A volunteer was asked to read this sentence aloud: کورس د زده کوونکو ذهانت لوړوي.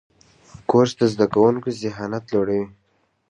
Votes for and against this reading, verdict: 2, 0, accepted